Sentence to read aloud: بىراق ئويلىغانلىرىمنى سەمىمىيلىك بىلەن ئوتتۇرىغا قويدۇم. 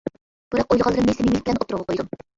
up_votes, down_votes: 0, 2